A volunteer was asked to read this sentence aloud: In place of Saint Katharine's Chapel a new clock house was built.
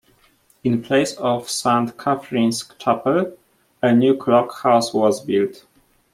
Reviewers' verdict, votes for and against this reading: rejected, 1, 2